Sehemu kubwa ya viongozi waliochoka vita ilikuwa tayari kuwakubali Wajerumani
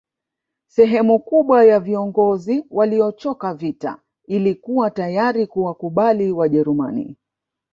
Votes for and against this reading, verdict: 2, 0, accepted